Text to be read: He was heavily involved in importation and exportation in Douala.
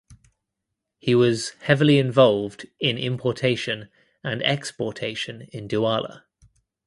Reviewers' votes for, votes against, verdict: 2, 1, accepted